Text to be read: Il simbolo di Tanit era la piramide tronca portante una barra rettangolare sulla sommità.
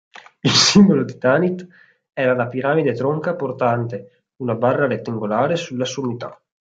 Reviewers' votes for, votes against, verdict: 1, 2, rejected